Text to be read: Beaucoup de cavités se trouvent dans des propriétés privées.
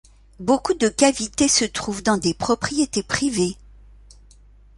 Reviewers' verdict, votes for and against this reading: accepted, 2, 0